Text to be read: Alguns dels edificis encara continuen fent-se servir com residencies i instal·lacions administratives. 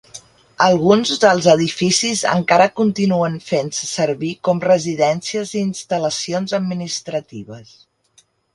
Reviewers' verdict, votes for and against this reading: rejected, 0, 2